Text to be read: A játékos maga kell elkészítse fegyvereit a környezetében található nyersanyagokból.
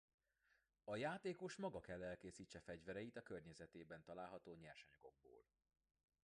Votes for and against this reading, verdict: 1, 2, rejected